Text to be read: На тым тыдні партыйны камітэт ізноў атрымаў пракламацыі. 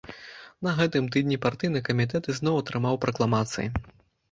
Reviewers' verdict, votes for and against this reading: rejected, 0, 2